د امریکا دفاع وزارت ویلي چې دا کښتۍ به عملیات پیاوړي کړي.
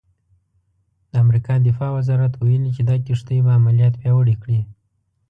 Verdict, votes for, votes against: accepted, 2, 0